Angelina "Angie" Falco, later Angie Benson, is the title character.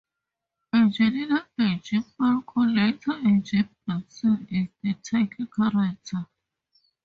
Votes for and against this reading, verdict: 0, 2, rejected